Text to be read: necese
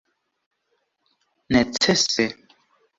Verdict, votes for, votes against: accepted, 2, 0